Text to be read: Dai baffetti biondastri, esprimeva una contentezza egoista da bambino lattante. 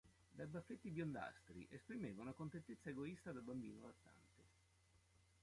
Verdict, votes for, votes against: rejected, 0, 2